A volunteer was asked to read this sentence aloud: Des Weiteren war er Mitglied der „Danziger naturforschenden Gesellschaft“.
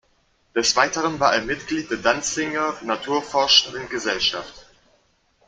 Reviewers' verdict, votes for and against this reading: rejected, 1, 2